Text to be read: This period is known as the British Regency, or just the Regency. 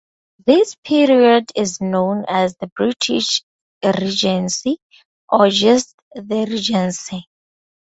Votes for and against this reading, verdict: 2, 0, accepted